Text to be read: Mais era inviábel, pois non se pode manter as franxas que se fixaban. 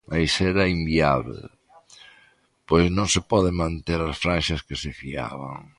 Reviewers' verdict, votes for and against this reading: rejected, 1, 2